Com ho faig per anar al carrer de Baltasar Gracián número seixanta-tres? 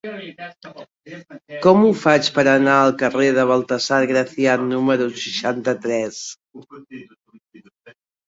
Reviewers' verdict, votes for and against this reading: rejected, 1, 2